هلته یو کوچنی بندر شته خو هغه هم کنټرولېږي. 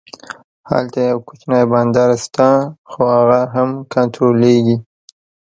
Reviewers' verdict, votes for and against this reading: accepted, 2, 0